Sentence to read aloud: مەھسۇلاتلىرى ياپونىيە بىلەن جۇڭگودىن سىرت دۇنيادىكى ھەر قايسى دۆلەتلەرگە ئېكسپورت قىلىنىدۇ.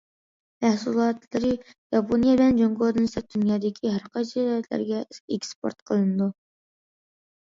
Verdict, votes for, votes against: accepted, 2, 1